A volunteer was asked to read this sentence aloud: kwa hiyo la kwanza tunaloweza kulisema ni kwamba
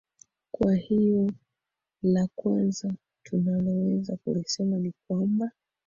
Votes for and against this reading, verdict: 0, 2, rejected